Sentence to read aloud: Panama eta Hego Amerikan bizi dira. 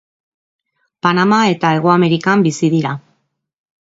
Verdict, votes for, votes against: accepted, 3, 0